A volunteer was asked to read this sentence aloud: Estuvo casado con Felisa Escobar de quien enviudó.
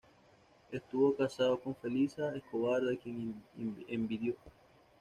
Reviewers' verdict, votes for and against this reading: accepted, 2, 0